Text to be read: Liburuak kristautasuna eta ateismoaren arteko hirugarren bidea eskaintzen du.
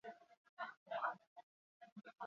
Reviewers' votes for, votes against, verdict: 2, 4, rejected